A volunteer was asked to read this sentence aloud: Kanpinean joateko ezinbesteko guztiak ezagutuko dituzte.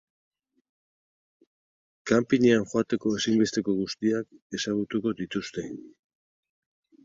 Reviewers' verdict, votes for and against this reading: accepted, 4, 0